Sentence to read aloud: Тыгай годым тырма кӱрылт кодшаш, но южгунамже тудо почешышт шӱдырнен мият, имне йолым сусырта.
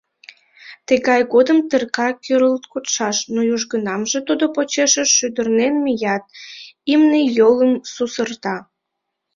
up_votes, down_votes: 0, 2